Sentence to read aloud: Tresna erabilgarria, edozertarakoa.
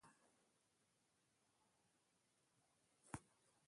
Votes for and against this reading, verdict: 0, 2, rejected